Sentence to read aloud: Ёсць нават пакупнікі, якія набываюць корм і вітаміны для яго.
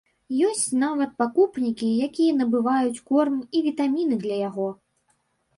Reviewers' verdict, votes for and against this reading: rejected, 2, 3